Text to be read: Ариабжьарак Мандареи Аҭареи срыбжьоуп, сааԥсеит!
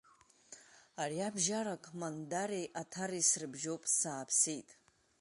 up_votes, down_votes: 2, 0